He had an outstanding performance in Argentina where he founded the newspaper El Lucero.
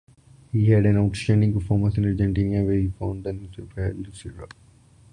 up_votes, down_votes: 0, 2